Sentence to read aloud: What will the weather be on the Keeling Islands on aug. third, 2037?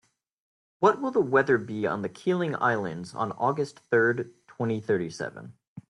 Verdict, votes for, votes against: rejected, 0, 2